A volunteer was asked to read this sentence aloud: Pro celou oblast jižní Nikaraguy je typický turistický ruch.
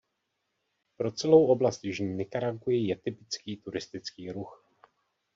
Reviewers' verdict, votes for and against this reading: rejected, 0, 2